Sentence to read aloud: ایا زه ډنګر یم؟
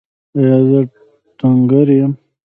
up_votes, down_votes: 1, 2